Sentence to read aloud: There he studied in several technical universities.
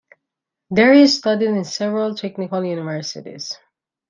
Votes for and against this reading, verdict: 2, 1, accepted